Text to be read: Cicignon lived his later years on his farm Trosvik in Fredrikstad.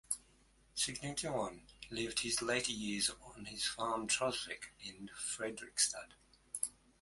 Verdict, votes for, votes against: rejected, 1, 2